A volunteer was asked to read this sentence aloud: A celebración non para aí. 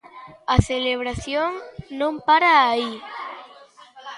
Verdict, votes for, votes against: accepted, 2, 1